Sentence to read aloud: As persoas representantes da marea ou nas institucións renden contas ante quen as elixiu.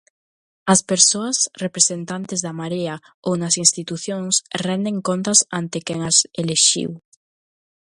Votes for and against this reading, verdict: 0, 2, rejected